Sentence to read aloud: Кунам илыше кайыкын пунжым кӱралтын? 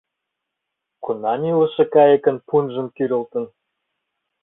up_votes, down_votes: 0, 2